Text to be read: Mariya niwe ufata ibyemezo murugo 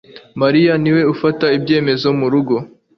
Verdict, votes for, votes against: accepted, 2, 1